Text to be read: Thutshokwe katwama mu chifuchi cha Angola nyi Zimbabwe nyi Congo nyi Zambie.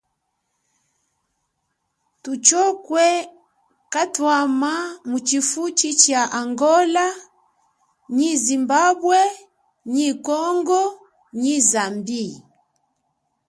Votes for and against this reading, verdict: 2, 0, accepted